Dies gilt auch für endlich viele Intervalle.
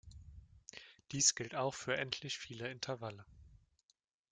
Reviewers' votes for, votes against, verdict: 2, 0, accepted